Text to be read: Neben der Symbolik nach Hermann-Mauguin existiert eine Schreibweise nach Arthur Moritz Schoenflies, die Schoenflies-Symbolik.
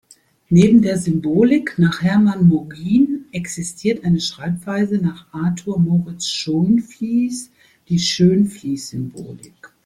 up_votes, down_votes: 1, 2